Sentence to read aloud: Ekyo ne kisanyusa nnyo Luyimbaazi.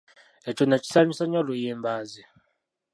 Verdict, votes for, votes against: rejected, 0, 2